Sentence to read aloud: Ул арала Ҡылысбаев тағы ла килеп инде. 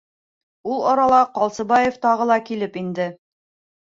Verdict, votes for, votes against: rejected, 1, 2